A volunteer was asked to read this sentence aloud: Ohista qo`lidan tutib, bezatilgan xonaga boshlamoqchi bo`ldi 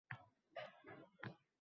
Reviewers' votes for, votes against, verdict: 0, 2, rejected